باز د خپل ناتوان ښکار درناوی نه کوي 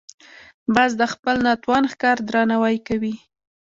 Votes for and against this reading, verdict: 0, 2, rejected